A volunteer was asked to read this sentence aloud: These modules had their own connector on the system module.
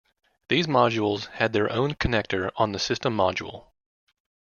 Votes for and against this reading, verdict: 2, 0, accepted